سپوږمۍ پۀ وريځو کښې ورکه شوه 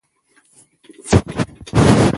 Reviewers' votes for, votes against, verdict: 1, 2, rejected